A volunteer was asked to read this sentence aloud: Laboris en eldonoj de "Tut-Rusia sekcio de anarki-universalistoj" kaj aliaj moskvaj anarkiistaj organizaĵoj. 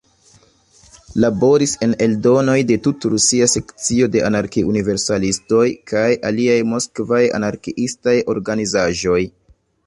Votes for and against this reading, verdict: 2, 0, accepted